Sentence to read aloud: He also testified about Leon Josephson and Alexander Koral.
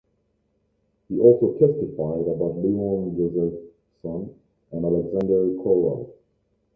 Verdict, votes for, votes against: rejected, 1, 2